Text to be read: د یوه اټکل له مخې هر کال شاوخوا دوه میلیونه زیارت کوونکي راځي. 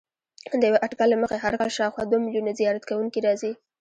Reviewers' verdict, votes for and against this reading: rejected, 1, 2